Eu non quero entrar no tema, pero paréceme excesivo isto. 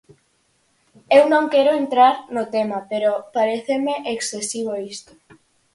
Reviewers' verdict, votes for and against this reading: accepted, 4, 0